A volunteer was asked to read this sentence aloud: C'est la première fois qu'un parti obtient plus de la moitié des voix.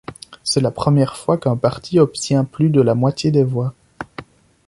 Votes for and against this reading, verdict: 2, 0, accepted